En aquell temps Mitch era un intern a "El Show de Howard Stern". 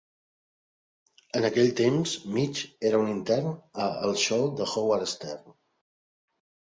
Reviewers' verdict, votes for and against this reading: accepted, 2, 0